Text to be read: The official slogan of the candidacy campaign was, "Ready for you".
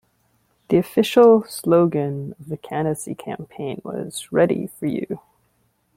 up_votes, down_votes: 2, 0